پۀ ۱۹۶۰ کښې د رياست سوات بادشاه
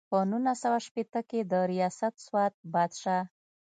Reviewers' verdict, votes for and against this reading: rejected, 0, 2